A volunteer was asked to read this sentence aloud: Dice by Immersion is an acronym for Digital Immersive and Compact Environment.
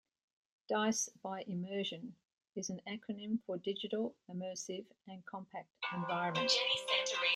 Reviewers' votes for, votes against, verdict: 1, 2, rejected